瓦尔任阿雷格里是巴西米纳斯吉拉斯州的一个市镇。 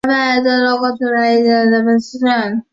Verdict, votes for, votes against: rejected, 0, 2